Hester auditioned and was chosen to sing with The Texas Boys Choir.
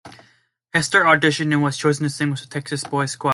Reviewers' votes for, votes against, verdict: 1, 2, rejected